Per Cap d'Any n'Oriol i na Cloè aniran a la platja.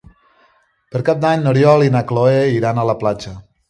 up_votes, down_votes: 1, 2